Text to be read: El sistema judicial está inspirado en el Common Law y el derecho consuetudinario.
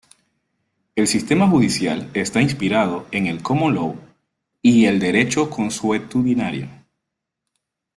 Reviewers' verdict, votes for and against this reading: rejected, 1, 2